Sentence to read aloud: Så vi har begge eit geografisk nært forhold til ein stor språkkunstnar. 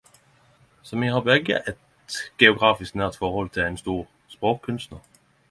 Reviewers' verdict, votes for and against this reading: accepted, 10, 0